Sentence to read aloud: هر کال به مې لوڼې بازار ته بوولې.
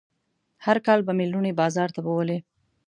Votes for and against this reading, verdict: 2, 0, accepted